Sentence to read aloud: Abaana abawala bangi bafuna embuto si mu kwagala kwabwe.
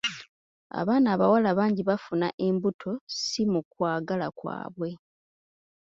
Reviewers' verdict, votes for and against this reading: accepted, 2, 0